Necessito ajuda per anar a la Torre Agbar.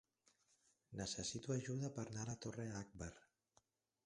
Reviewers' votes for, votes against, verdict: 0, 4, rejected